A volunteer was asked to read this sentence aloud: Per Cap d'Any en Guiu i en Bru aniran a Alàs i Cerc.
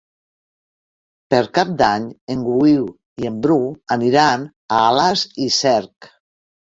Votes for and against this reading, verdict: 1, 2, rejected